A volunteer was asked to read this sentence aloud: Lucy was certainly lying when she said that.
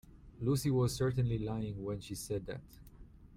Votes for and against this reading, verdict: 2, 0, accepted